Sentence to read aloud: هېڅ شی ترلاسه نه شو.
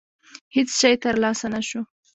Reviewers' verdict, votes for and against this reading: accepted, 2, 0